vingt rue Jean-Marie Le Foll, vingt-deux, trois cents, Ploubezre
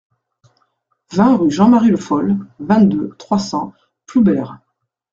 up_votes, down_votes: 0, 2